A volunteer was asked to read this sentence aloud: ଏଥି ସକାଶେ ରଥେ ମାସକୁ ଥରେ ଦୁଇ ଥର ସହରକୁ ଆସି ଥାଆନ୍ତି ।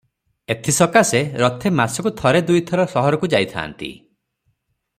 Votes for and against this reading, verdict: 0, 3, rejected